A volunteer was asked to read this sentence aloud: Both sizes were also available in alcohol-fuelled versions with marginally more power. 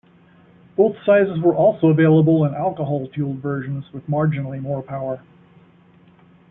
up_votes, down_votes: 2, 1